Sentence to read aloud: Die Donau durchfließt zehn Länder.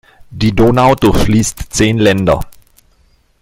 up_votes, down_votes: 2, 0